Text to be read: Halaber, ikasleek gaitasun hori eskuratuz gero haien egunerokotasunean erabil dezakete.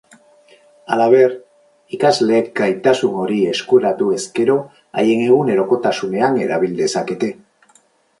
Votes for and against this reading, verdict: 0, 4, rejected